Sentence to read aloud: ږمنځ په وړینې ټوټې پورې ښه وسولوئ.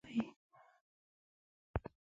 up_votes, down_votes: 1, 2